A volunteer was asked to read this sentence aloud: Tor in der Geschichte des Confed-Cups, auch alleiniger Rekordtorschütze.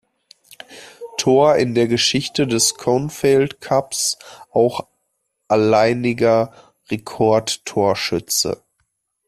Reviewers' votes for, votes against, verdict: 1, 2, rejected